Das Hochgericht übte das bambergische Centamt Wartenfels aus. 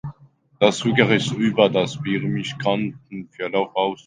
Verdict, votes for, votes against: rejected, 0, 2